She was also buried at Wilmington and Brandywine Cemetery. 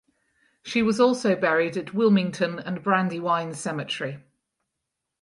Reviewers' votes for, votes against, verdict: 4, 0, accepted